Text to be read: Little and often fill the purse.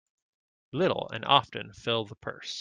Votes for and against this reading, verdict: 2, 0, accepted